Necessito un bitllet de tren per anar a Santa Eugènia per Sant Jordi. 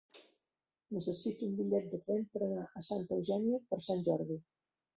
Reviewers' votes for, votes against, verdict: 2, 3, rejected